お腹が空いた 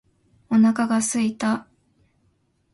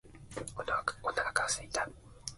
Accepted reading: second